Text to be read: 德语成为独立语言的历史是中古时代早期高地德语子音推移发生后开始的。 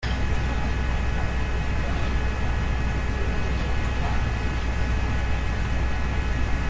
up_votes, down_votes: 0, 2